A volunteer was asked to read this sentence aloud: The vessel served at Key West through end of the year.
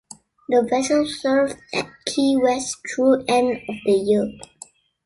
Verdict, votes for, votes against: accepted, 2, 0